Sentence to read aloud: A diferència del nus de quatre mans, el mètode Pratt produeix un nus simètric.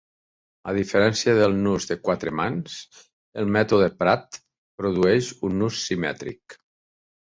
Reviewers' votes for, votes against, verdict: 3, 0, accepted